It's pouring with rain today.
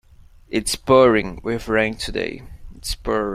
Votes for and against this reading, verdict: 0, 2, rejected